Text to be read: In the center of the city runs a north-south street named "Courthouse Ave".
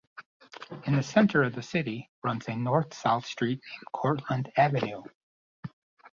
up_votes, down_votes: 0, 2